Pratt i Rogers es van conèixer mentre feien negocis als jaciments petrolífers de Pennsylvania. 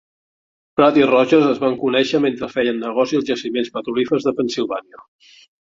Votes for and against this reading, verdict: 0, 2, rejected